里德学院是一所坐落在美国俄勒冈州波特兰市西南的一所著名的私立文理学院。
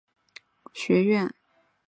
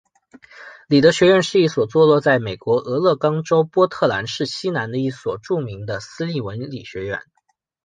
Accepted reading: second